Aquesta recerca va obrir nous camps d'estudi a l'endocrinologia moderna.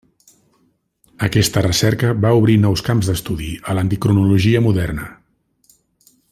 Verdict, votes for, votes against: accepted, 2, 1